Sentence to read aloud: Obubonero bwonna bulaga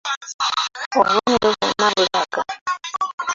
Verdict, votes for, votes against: rejected, 0, 2